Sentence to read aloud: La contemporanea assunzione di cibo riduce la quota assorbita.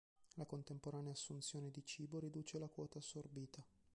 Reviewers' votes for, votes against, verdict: 2, 3, rejected